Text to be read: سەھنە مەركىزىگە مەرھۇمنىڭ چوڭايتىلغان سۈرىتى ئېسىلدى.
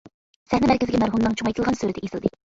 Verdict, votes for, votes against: rejected, 0, 2